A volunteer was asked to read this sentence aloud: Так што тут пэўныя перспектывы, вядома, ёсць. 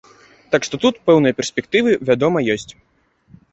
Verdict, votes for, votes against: accepted, 2, 0